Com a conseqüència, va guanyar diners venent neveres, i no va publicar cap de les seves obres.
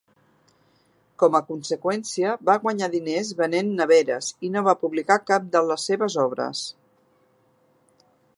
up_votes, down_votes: 2, 0